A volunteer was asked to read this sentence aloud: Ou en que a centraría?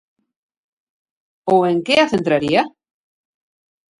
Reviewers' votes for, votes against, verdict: 2, 0, accepted